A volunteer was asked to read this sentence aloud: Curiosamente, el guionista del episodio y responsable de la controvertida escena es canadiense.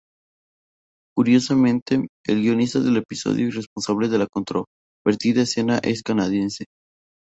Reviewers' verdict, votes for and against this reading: rejected, 0, 2